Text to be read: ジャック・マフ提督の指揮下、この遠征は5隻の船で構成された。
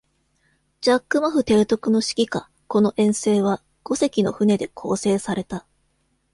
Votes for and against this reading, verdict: 0, 2, rejected